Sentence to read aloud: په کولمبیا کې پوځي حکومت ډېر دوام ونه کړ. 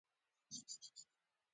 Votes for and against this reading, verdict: 0, 2, rejected